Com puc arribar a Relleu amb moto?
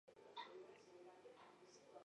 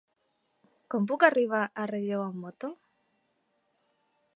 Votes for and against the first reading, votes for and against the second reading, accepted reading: 0, 4, 4, 1, second